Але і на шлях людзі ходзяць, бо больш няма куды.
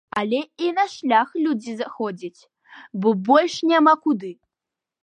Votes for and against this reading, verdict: 0, 2, rejected